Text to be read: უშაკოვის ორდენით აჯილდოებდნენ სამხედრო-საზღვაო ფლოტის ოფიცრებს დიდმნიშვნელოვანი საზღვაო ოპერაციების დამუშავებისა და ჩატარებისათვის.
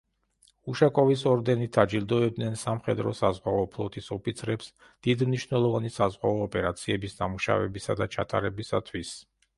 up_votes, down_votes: 3, 1